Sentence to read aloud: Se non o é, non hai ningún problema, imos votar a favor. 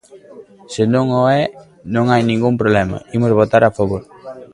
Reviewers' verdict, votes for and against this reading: rejected, 1, 2